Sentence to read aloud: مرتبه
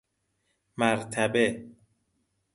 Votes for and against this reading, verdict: 2, 0, accepted